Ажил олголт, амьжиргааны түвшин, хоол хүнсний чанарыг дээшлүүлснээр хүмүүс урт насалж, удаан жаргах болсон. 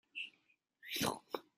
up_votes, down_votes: 0, 2